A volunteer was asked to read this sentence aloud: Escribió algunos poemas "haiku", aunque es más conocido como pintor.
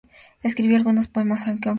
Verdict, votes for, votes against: rejected, 0, 2